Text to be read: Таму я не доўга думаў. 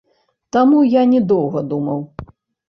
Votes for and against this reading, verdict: 1, 2, rejected